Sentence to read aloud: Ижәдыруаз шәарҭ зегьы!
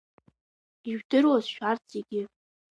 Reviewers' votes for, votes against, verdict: 2, 0, accepted